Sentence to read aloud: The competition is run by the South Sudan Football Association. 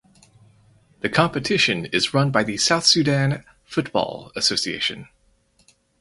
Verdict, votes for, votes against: rejected, 2, 2